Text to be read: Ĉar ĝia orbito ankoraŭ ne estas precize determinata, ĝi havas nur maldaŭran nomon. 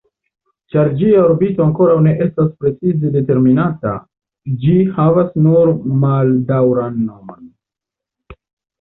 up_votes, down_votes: 2, 0